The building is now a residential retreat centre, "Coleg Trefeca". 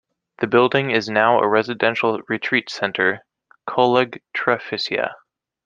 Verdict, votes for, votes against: rejected, 1, 2